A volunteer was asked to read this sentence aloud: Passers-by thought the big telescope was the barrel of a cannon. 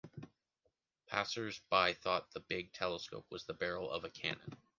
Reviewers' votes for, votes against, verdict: 3, 0, accepted